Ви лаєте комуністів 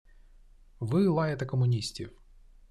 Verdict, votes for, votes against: accepted, 2, 0